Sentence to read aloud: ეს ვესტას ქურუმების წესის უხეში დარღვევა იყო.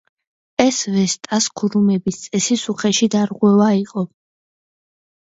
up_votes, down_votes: 2, 0